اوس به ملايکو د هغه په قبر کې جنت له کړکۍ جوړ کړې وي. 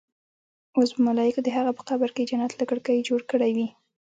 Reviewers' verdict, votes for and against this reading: accepted, 2, 0